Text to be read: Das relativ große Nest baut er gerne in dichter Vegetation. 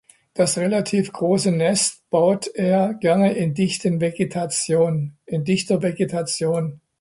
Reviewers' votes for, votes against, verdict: 0, 2, rejected